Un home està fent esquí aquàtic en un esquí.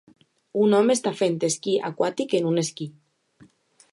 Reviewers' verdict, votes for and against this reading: accepted, 2, 0